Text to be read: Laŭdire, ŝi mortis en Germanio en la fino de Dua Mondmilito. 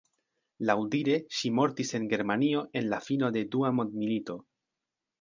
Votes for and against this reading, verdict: 1, 2, rejected